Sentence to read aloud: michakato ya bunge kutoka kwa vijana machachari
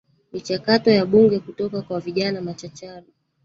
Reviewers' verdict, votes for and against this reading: rejected, 1, 2